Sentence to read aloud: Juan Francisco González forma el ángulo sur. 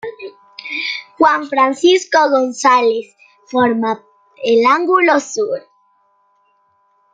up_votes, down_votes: 2, 0